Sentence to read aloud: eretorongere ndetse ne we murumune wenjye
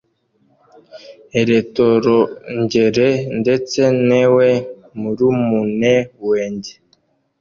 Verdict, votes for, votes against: rejected, 0, 2